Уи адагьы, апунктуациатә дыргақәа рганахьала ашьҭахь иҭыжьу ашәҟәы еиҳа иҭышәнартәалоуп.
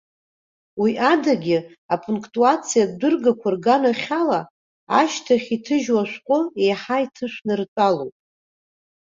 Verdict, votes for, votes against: accepted, 2, 0